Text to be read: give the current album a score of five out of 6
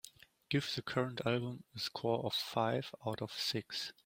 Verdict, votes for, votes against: rejected, 0, 2